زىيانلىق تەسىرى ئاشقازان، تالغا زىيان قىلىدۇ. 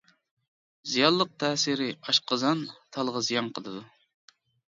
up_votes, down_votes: 2, 0